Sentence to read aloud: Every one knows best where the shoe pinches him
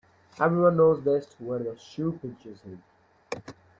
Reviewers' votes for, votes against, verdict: 0, 2, rejected